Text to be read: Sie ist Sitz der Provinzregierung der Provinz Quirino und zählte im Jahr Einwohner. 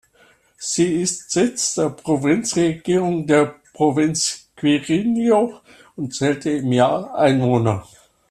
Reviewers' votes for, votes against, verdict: 0, 2, rejected